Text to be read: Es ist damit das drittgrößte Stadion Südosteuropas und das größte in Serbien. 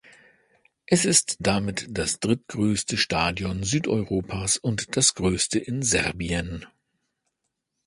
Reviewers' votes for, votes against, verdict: 1, 2, rejected